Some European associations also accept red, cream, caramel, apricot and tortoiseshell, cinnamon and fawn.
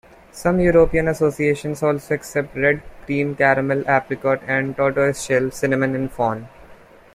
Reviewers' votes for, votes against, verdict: 1, 2, rejected